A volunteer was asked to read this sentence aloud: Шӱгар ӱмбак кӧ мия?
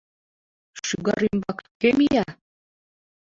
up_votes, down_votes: 2, 0